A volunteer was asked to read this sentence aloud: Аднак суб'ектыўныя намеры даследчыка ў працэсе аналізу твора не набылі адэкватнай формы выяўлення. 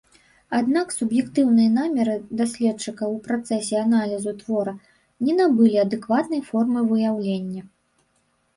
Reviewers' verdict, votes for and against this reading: rejected, 1, 2